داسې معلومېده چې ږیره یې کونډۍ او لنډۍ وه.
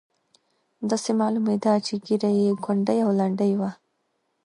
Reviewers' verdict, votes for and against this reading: accepted, 2, 0